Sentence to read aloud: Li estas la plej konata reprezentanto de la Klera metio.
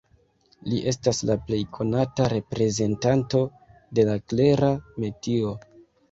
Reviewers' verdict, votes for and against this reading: rejected, 0, 2